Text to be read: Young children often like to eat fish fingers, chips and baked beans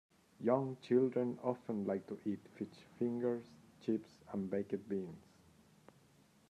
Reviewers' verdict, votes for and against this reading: rejected, 1, 2